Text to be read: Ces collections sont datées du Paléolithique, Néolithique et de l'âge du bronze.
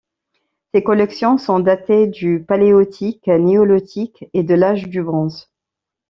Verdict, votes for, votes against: rejected, 1, 2